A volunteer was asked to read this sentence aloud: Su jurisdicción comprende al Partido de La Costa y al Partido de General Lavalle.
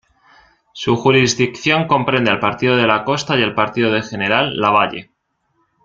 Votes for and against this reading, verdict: 2, 0, accepted